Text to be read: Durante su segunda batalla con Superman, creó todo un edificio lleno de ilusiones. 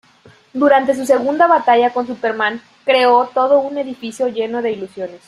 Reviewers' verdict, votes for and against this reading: accepted, 2, 0